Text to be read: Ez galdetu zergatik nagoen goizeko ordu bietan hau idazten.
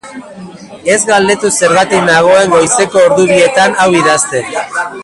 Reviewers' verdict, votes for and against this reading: rejected, 0, 2